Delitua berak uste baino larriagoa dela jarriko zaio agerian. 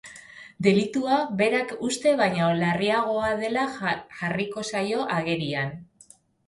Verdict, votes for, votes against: rejected, 0, 2